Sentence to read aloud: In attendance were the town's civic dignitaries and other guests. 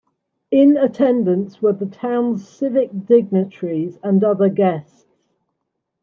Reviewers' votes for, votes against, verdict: 2, 1, accepted